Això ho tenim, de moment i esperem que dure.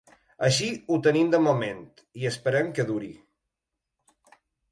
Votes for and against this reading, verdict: 1, 2, rejected